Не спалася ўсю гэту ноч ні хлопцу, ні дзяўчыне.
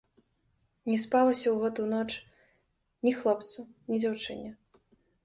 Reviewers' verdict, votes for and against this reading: rejected, 1, 2